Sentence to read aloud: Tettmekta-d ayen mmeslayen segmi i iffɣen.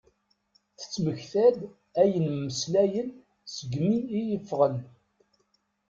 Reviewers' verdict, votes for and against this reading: accepted, 2, 0